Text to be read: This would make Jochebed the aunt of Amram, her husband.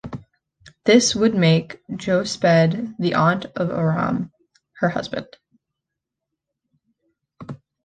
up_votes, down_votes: 1, 2